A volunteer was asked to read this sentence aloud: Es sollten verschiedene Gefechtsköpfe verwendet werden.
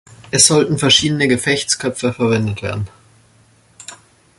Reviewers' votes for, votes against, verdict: 2, 0, accepted